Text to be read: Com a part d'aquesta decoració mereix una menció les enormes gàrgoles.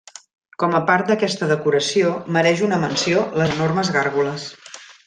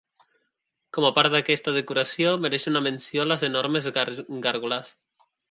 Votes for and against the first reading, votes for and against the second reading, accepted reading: 2, 0, 0, 2, first